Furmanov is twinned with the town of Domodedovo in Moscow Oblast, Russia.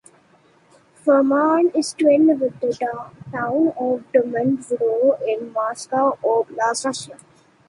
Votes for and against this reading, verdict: 1, 2, rejected